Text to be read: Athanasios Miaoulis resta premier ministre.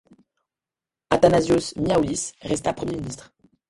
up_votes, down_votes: 2, 0